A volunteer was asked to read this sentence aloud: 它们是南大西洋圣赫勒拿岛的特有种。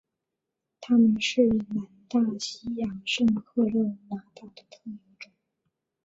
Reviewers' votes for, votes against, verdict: 0, 2, rejected